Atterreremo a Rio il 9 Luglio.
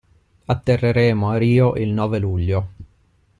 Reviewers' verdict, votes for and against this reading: rejected, 0, 2